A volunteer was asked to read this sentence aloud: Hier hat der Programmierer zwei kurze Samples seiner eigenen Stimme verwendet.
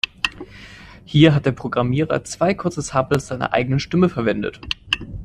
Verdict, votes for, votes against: rejected, 1, 2